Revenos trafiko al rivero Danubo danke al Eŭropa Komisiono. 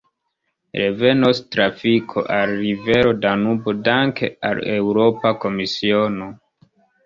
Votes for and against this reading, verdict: 1, 2, rejected